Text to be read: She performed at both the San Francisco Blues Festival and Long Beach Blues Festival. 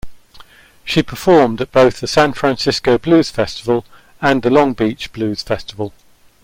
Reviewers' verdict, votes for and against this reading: rejected, 1, 2